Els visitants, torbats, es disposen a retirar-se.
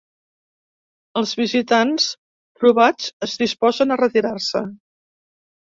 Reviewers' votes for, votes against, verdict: 1, 2, rejected